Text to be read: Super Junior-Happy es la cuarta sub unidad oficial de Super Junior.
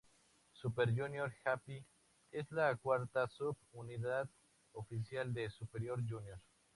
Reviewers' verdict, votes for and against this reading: accepted, 2, 0